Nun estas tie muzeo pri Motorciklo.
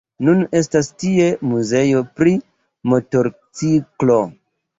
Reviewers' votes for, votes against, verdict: 2, 0, accepted